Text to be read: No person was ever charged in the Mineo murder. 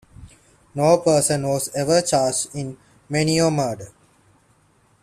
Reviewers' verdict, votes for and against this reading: rejected, 0, 2